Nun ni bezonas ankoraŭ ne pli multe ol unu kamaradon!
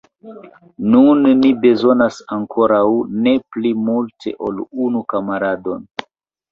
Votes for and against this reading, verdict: 2, 0, accepted